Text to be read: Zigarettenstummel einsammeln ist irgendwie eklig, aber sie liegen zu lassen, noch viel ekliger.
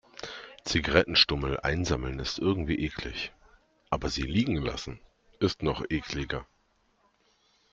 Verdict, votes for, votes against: rejected, 0, 2